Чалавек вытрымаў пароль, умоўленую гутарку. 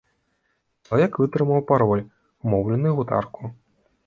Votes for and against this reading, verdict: 1, 2, rejected